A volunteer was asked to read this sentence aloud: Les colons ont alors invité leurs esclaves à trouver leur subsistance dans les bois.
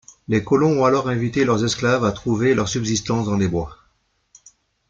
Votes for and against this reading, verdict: 2, 1, accepted